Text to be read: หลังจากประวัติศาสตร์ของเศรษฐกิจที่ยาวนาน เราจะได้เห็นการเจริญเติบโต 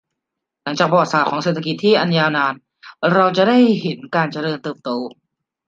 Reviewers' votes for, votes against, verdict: 0, 2, rejected